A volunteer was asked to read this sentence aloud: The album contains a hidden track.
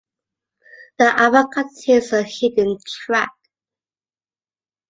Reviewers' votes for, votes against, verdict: 2, 0, accepted